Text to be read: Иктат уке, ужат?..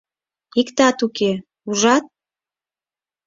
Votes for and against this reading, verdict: 6, 0, accepted